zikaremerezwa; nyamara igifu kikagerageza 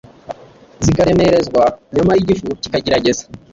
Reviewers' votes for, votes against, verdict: 2, 0, accepted